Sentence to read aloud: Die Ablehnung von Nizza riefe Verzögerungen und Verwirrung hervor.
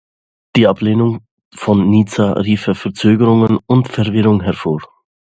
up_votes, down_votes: 2, 0